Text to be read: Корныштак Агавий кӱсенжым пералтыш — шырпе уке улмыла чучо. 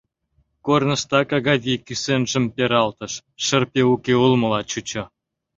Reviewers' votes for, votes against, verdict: 2, 0, accepted